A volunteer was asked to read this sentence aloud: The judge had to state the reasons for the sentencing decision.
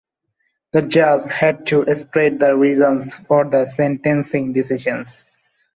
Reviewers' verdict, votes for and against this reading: rejected, 1, 2